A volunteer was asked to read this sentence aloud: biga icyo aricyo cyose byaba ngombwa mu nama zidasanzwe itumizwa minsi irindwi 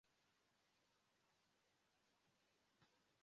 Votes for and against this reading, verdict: 0, 2, rejected